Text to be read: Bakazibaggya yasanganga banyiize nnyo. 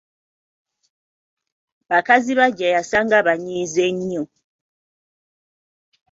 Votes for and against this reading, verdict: 1, 2, rejected